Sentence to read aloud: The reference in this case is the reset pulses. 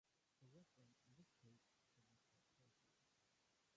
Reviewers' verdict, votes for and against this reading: rejected, 0, 3